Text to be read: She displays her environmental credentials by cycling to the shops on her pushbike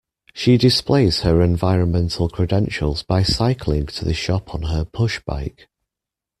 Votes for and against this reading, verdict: 0, 2, rejected